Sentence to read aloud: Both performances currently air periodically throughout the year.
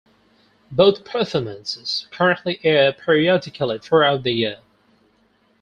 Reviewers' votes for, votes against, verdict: 4, 0, accepted